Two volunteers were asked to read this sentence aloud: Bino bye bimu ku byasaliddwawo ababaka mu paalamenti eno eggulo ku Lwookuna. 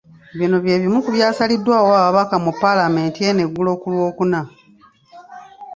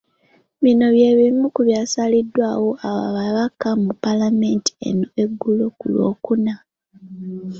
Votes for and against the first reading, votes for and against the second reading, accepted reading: 2, 0, 1, 2, first